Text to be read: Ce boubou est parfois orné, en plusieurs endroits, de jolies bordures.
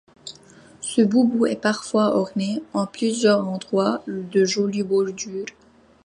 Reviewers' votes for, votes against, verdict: 2, 0, accepted